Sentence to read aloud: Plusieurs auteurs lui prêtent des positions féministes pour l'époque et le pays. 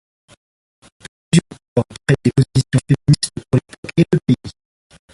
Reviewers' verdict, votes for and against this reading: rejected, 1, 2